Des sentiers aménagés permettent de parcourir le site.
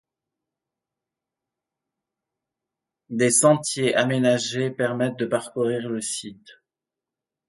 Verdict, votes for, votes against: accepted, 2, 0